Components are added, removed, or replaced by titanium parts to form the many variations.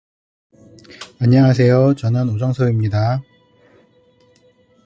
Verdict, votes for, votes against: rejected, 0, 2